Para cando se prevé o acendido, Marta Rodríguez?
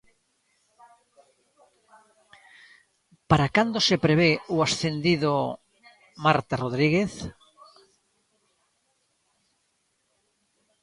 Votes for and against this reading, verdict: 0, 2, rejected